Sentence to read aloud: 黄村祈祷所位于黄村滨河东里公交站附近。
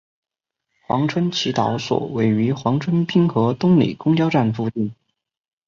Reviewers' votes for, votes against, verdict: 2, 1, accepted